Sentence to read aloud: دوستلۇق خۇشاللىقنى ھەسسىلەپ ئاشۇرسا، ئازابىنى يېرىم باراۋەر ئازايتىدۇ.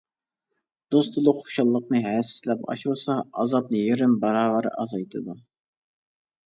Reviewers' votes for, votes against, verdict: 0, 2, rejected